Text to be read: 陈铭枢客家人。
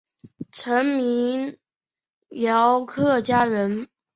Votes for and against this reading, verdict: 5, 7, rejected